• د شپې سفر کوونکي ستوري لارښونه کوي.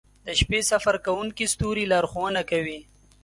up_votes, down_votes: 2, 1